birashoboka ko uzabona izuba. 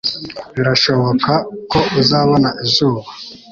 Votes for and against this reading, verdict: 3, 0, accepted